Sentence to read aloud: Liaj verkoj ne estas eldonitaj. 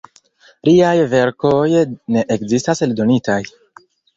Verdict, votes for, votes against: rejected, 1, 2